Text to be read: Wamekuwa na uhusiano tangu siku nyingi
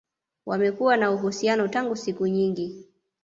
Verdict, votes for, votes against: accepted, 2, 0